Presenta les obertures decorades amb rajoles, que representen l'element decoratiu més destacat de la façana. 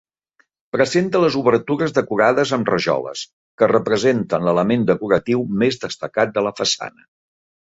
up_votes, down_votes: 3, 0